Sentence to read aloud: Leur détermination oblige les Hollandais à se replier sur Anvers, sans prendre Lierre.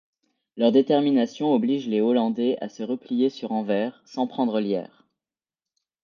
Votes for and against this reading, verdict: 2, 0, accepted